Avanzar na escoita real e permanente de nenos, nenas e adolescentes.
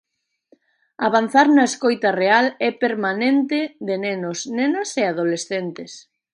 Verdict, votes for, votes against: accepted, 2, 0